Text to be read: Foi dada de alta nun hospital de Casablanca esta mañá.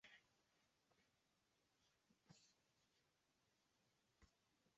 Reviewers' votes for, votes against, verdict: 0, 2, rejected